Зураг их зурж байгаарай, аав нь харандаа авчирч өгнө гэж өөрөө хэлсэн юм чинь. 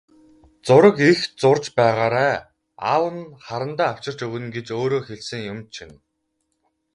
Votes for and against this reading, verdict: 4, 0, accepted